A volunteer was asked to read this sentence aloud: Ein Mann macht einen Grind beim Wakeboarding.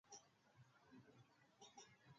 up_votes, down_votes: 0, 3